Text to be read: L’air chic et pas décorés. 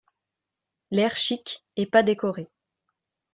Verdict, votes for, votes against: accepted, 2, 0